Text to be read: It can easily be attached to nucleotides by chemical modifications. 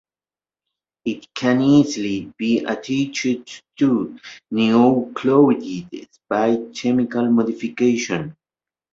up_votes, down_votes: 0, 2